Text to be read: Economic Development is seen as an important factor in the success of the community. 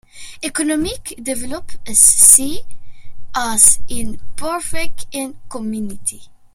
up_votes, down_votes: 2, 1